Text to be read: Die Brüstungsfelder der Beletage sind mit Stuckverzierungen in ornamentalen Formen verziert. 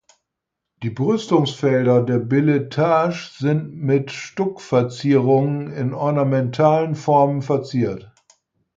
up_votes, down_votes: 4, 2